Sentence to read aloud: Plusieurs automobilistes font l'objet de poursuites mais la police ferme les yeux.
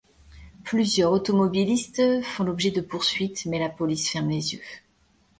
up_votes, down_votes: 2, 0